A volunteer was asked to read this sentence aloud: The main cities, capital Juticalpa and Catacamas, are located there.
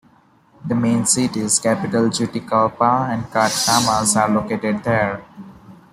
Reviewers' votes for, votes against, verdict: 1, 2, rejected